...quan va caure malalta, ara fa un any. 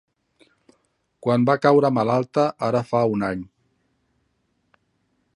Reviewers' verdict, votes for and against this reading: accepted, 3, 0